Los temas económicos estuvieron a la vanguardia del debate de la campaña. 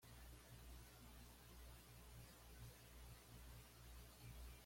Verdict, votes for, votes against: rejected, 1, 2